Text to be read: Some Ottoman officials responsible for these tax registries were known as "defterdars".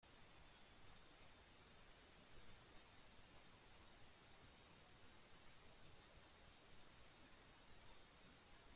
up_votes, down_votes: 0, 2